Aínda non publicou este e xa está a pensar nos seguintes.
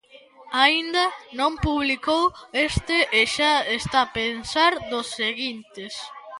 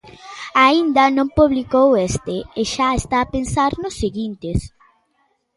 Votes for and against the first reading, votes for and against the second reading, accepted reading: 1, 2, 3, 0, second